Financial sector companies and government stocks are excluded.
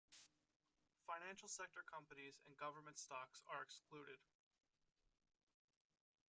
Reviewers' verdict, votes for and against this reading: accepted, 2, 0